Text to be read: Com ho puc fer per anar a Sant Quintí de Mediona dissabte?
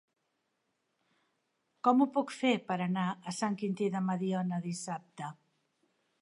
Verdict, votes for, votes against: accepted, 3, 0